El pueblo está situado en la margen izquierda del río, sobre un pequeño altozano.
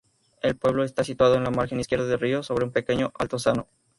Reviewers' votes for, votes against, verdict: 2, 0, accepted